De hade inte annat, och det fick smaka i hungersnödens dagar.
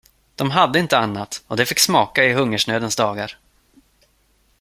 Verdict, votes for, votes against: accepted, 2, 0